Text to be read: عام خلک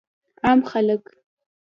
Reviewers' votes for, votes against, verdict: 3, 0, accepted